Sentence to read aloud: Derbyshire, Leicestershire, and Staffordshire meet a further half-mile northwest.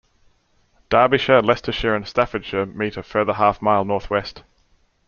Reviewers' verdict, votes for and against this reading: accepted, 2, 0